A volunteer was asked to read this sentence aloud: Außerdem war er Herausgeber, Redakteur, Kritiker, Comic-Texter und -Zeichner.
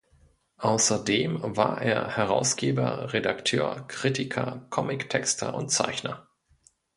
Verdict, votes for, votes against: accepted, 2, 0